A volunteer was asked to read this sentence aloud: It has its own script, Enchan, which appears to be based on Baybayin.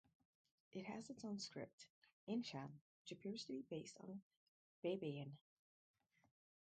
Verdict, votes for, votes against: rejected, 2, 4